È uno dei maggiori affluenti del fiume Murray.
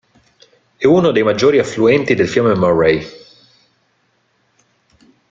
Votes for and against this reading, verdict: 2, 0, accepted